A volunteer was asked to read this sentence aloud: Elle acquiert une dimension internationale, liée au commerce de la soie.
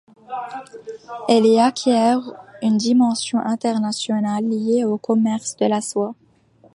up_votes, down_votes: 1, 2